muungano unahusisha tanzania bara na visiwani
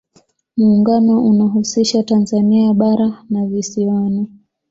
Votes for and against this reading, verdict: 2, 0, accepted